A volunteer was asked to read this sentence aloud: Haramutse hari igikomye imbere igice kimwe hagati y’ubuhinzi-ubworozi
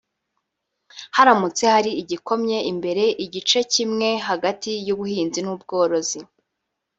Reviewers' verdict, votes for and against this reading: rejected, 1, 2